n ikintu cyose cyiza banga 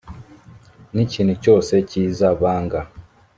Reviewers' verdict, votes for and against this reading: accepted, 2, 0